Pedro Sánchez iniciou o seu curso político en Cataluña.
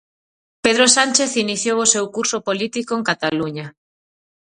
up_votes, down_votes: 4, 0